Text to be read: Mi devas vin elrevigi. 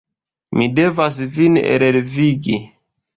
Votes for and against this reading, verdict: 2, 1, accepted